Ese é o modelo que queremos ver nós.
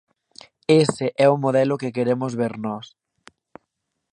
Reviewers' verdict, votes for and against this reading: accepted, 2, 0